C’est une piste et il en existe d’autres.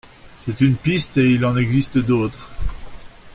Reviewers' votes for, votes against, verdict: 2, 0, accepted